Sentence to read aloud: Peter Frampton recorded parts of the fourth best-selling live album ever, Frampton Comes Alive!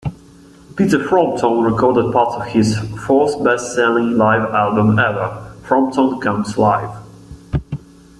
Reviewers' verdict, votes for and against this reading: rejected, 0, 2